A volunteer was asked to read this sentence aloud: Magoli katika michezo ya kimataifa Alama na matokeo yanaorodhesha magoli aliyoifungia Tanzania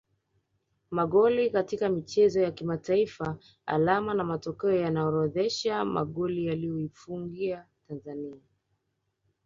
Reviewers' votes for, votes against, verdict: 1, 2, rejected